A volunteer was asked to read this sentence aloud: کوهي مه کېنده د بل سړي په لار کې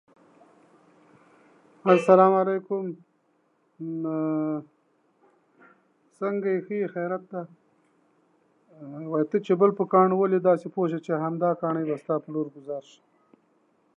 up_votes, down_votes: 0, 2